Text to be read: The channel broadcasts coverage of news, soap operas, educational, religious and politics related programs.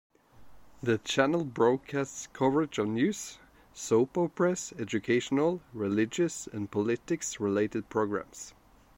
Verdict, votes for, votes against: accepted, 2, 0